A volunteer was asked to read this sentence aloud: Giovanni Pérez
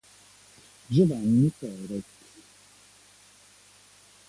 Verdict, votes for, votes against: accepted, 2, 1